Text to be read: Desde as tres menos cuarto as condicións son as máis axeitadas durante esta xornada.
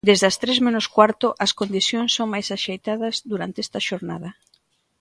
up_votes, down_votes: 0, 2